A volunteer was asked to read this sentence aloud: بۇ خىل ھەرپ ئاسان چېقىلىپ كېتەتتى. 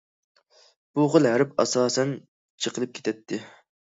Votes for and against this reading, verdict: 1, 2, rejected